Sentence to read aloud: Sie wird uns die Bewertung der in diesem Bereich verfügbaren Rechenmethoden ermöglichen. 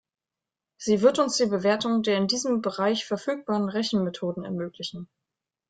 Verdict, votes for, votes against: accepted, 2, 0